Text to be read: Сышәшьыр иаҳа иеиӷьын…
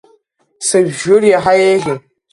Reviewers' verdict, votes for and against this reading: rejected, 0, 2